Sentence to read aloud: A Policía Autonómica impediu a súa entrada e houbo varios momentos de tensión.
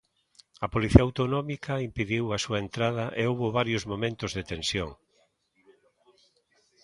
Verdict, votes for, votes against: accepted, 2, 0